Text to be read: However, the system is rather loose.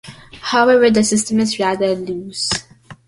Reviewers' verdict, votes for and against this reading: accepted, 2, 0